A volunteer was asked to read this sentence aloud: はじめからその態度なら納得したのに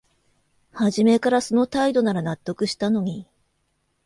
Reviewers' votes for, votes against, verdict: 2, 0, accepted